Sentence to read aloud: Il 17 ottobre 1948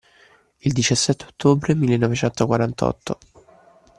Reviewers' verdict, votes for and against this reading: rejected, 0, 2